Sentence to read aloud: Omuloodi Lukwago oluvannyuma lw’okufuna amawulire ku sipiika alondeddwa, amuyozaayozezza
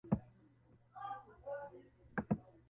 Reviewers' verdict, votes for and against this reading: rejected, 0, 2